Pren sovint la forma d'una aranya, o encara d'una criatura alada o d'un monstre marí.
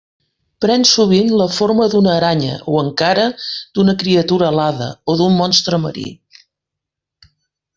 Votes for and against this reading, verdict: 4, 0, accepted